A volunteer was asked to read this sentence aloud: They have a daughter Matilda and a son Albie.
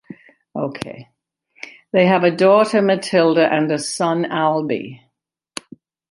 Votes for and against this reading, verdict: 0, 2, rejected